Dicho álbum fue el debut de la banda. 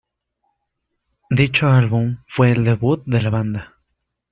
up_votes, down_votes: 2, 0